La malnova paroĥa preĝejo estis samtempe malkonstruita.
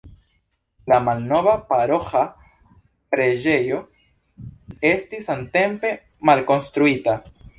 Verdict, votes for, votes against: rejected, 1, 2